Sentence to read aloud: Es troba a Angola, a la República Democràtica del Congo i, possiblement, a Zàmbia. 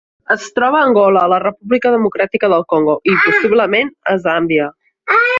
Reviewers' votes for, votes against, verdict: 0, 2, rejected